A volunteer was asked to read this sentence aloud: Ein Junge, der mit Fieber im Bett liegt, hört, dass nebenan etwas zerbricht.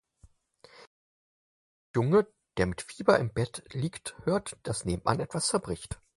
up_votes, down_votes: 0, 6